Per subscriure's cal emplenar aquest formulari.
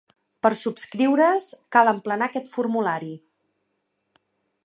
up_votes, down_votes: 2, 0